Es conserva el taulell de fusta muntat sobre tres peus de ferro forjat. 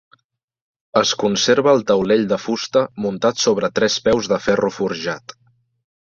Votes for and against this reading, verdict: 3, 0, accepted